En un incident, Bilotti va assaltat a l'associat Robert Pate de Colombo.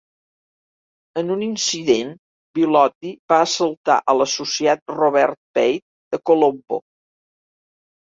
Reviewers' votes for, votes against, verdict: 1, 2, rejected